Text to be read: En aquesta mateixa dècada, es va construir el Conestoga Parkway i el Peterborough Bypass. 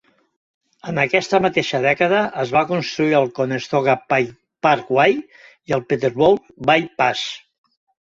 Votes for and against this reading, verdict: 0, 2, rejected